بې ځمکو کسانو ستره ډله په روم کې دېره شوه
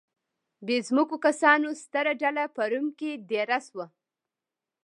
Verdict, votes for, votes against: accepted, 2, 0